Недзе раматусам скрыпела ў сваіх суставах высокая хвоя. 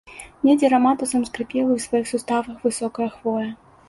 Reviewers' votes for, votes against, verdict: 2, 0, accepted